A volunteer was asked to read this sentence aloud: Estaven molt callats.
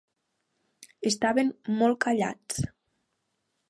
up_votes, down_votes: 3, 0